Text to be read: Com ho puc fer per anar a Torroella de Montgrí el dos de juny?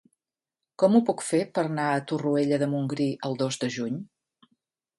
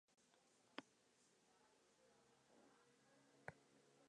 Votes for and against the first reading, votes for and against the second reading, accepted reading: 2, 1, 0, 2, first